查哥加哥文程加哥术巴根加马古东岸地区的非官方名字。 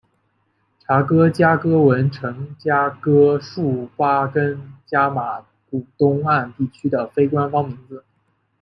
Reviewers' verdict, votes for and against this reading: accepted, 2, 0